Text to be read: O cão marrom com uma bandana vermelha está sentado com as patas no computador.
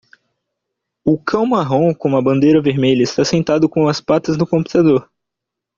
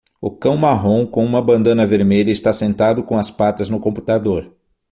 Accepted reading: second